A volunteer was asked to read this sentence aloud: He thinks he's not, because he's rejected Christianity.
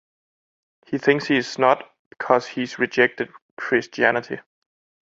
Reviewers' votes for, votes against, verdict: 2, 3, rejected